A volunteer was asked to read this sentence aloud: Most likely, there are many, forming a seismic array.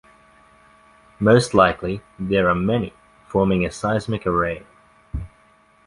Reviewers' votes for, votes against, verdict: 2, 0, accepted